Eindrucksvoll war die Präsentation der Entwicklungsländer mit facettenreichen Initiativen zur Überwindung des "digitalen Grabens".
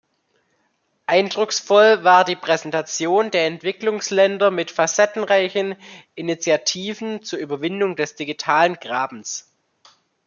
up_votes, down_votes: 2, 0